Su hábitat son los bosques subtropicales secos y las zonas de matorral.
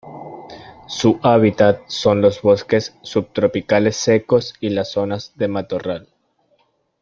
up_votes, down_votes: 2, 0